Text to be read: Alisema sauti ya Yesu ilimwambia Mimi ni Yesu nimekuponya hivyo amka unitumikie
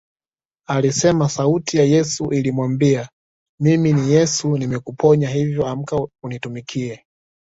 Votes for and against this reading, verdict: 2, 0, accepted